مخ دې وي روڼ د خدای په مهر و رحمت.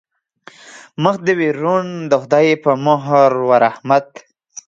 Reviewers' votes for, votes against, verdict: 2, 0, accepted